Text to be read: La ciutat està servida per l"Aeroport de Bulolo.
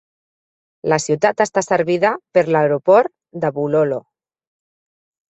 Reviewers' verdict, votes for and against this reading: accepted, 2, 0